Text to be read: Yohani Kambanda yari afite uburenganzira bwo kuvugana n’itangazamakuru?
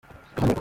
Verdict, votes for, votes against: rejected, 0, 2